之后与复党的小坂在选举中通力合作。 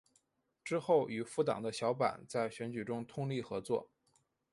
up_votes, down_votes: 5, 0